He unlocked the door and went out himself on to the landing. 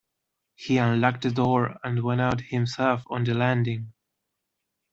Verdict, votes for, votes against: rejected, 0, 2